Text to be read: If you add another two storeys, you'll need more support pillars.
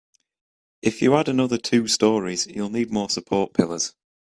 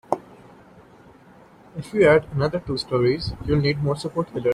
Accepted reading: first